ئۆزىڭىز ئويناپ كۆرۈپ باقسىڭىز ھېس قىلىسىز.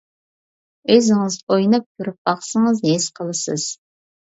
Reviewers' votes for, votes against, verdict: 2, 0, accepted